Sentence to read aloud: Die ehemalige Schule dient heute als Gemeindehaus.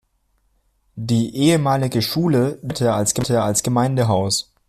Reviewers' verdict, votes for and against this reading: rejected, 0, 2